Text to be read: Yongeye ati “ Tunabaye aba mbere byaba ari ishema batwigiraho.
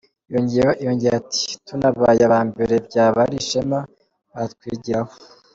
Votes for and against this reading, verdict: 1, 2, rejected